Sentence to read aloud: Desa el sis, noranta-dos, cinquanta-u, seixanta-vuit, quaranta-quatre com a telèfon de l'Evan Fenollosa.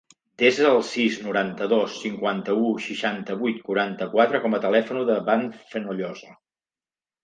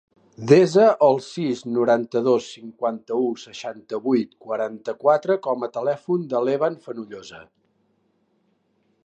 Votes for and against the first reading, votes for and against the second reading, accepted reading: 1, 2, 4, 0, second